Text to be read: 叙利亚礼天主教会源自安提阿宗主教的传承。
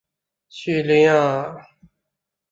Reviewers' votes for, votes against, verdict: 2, 4, rejected